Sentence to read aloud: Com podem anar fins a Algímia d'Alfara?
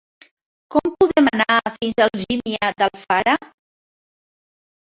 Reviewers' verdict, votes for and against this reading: accepted, 2, 1